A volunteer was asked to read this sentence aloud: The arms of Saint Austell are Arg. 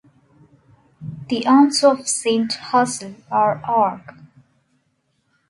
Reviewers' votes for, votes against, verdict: 1, 2, rejected